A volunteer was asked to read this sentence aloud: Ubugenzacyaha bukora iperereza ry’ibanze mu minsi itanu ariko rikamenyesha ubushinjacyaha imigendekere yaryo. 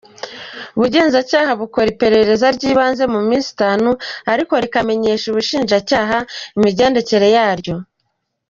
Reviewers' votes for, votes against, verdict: 2, 0, accepted